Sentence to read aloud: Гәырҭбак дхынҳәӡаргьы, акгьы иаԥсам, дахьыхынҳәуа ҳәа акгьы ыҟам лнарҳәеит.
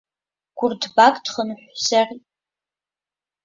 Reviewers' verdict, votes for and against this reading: rejected, 0, 2